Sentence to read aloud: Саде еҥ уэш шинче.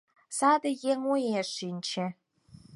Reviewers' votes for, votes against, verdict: 4, 0, accepted